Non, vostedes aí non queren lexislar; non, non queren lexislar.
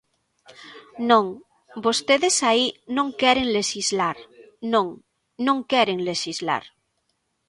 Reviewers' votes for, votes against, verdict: 2, 0, accepted